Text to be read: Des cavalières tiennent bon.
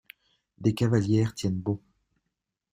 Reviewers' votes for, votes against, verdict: 2, 0, accepted